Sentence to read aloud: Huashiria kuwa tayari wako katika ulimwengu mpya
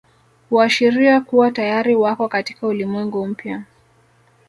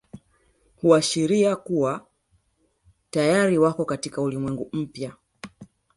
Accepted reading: first